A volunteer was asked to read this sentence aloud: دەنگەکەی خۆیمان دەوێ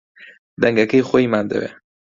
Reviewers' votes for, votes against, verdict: 2, 0, accepted